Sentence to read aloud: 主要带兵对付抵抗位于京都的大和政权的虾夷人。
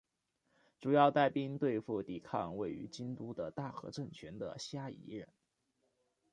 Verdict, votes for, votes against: accepted, 2, 1